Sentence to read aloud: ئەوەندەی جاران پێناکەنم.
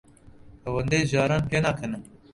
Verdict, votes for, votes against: rejected, 0, 2